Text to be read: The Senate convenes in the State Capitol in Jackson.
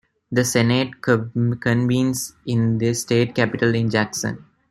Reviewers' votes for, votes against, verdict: 1, 2, rejected